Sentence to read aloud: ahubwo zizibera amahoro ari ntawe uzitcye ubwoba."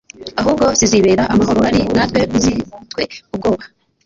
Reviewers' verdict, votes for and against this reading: rejected, 0, 2